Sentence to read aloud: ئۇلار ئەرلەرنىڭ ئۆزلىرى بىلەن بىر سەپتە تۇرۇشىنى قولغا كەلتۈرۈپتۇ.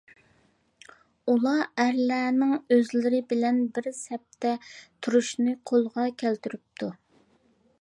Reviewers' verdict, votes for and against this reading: accepted, 2, 0